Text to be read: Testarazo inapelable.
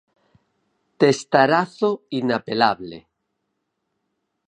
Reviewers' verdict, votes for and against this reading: accepted, 4, 0